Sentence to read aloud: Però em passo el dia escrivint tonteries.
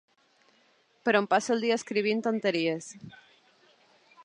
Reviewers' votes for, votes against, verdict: 5, 0, accepted